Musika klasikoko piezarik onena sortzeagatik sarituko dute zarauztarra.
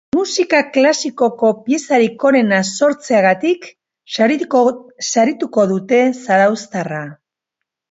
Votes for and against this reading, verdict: 0, 2, rejected